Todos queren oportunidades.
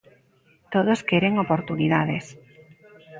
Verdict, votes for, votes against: rejected, 1, 2